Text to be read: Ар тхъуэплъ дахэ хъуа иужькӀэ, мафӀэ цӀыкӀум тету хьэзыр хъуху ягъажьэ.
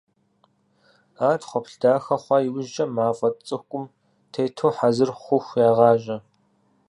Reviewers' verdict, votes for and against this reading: accepted, 4, 0